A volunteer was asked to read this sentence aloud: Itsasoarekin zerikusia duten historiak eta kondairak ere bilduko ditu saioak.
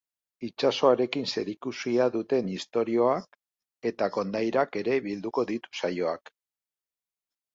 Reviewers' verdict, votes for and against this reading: rejected, 2, 2